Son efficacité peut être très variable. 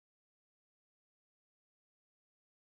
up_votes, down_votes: 0, 2